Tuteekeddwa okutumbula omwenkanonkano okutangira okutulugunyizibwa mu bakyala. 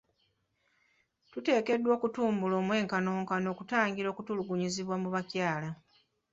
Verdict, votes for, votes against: rejected, 0, 2